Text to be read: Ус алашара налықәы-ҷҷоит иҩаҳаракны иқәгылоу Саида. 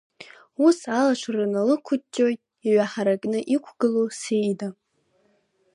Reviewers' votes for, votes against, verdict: 2, 0, accepted